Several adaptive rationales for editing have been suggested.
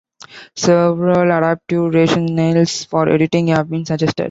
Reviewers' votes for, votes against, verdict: 2, 0, accepted